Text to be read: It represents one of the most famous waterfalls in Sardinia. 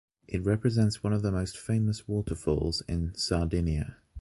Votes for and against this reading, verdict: 2, 0, accepted